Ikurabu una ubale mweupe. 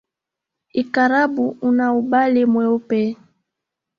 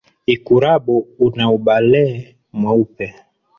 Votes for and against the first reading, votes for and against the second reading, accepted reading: 1, 3, 2, 1, second